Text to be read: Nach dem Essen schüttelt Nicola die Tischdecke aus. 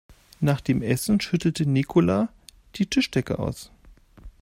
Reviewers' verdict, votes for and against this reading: rejected, 1, 2